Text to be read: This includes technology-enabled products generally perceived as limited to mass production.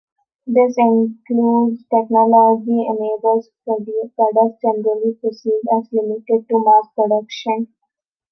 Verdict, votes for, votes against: rejected, 0, 2